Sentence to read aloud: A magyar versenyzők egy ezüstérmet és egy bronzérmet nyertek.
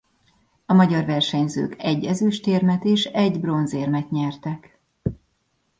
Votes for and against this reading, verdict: 2, 0, accepted